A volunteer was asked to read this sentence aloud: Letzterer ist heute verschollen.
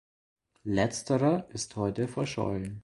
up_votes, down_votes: 2, 0